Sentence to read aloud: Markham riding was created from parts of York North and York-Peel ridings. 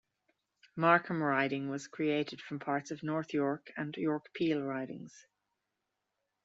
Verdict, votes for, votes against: rejected, 0, 2